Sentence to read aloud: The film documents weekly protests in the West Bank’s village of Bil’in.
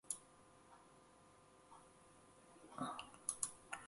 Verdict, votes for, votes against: rejected, 0, 2